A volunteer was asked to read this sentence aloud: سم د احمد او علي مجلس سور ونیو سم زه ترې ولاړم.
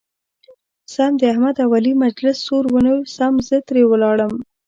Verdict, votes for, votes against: accepted, 3, 1